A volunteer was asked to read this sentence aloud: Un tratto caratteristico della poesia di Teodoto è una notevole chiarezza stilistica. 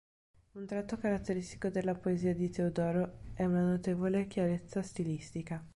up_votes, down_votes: 0, 2